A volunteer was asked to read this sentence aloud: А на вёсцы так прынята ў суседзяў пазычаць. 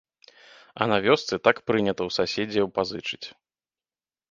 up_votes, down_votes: 0, 2